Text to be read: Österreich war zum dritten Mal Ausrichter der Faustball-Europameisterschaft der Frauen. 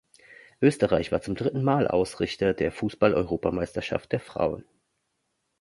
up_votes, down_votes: 0, 2